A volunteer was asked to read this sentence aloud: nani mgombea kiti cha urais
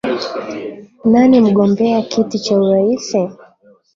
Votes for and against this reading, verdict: 0, 2, rejected